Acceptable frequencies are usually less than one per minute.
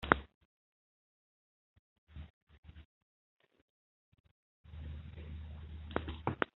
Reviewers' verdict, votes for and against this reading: rejected, 0, 2